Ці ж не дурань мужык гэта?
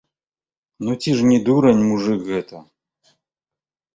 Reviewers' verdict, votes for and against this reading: rejected, 1, 2